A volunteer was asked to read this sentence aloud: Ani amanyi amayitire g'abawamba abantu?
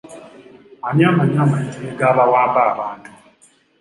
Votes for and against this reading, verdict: 2, 0, accepted